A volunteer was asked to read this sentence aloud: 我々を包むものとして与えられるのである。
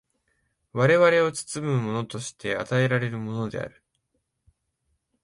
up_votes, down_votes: 2, 0